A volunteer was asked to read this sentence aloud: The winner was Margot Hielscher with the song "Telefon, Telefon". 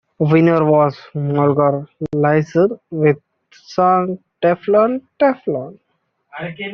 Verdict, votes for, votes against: rejected, 0, 2